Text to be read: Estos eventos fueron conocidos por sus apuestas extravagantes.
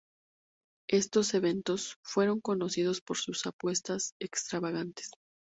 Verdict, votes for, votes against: accepted, 4, 0